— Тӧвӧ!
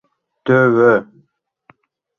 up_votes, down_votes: 3, 0